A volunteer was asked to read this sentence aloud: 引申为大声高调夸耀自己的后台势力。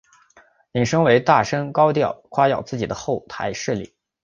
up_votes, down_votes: 5, 0